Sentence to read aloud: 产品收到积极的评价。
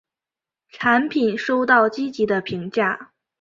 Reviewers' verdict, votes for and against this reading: accepted, 5, 0